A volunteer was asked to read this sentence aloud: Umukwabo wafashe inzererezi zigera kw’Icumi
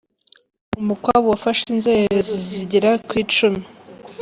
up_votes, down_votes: 1, 2